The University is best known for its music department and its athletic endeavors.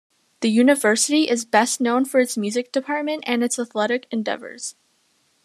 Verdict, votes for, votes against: accepted, 2, 0